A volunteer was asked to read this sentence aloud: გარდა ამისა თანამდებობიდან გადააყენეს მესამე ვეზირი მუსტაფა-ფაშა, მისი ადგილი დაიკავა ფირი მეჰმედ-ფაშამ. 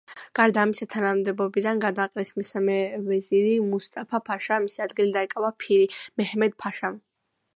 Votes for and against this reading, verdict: 2, 0, accepted